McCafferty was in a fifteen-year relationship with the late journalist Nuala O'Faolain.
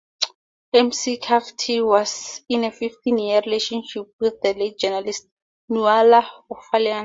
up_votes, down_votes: 0, 2